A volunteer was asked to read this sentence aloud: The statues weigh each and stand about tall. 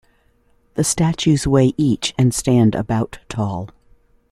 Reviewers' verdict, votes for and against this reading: accepted, 2, 0